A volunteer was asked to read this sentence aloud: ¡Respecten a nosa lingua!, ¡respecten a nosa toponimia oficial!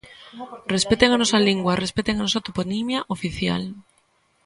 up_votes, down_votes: 1, 2